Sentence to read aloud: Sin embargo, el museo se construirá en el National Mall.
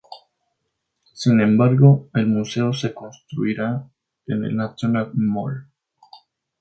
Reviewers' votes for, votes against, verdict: 2, 0, accepted